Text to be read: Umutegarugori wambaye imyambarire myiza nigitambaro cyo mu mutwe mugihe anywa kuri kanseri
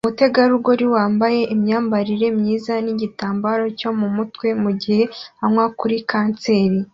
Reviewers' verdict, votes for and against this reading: accepted, 2, 0